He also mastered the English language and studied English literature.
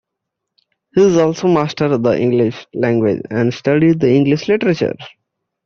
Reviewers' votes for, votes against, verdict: 0, 2, rejected